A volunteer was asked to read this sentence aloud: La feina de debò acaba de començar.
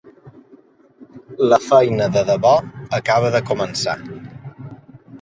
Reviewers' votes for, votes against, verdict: 0, 2, rejected